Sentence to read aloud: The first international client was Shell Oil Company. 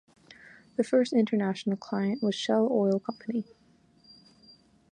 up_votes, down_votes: 2, 0